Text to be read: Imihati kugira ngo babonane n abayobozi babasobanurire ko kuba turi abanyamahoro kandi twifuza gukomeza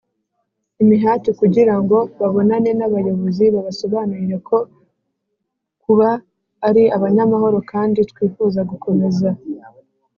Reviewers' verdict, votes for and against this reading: rejected, 0, 3